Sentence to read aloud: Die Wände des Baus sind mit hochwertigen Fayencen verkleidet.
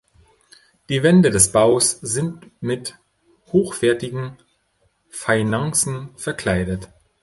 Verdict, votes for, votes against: rejected, 2, 3